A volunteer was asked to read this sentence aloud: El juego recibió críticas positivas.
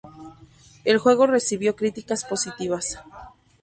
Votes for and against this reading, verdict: 2, 0, accepted